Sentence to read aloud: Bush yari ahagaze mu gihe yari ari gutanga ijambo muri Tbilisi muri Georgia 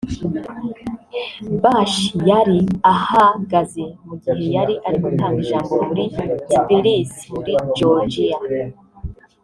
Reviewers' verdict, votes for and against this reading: rejected, 2, 3